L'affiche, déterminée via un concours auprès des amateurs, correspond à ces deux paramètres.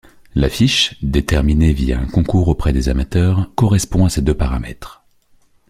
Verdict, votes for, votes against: accepted, 2, 0